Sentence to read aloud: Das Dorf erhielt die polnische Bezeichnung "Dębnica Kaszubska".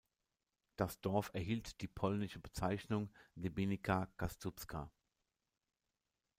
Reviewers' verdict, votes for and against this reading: rejected, 0, 2